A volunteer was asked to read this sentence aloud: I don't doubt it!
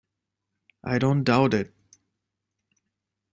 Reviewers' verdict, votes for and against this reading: accepted, 2, 0